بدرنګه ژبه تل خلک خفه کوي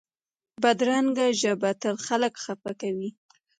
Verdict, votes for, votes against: accepted, 2, 0